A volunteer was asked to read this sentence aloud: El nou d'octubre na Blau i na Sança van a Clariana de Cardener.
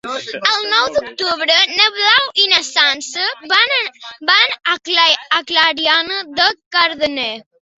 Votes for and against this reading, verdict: 0, 2, rejected